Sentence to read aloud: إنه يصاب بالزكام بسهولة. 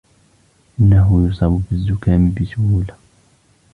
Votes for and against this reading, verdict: 2, 0, accepted